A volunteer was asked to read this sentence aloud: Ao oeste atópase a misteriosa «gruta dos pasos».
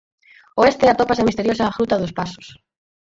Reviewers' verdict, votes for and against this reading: rejected, 0, 4